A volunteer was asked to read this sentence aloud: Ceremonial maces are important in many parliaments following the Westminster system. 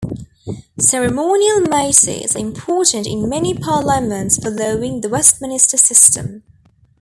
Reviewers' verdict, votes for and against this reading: rejected, 1, 2